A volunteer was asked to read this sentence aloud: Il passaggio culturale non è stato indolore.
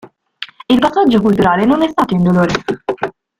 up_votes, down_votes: 1, 2